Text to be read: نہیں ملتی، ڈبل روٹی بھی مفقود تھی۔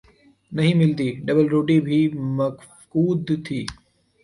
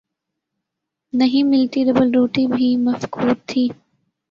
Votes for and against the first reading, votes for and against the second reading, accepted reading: 1, 3, 2, 0, second